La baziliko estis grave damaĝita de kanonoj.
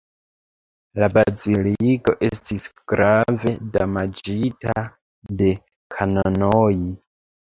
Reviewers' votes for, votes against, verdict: 0, 2, rejected